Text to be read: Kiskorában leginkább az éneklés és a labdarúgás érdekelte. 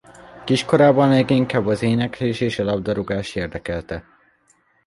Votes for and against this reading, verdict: 2, 0, accepted